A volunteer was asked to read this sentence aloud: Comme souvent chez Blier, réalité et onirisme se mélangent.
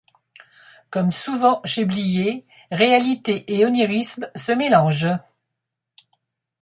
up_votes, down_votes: 2, 0